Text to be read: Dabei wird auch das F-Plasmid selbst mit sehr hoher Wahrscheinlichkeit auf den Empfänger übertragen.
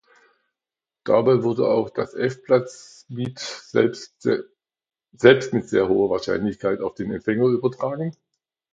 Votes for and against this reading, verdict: 0, 2, rejected